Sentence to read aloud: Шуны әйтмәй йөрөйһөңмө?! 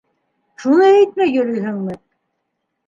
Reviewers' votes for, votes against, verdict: 2, 0, accepted